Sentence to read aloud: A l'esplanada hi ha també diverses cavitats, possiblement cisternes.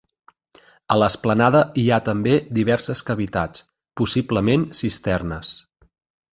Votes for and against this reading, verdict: 3, 0, accepted